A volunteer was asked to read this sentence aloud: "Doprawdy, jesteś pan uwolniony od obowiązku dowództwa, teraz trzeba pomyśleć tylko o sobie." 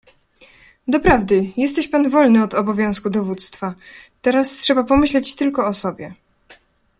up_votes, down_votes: 1, 2